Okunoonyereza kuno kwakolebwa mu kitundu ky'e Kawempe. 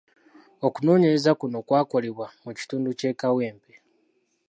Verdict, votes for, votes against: accepted, 2, 1